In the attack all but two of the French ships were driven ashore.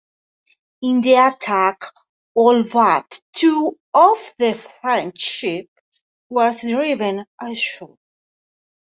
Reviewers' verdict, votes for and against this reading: accepted, 2, 1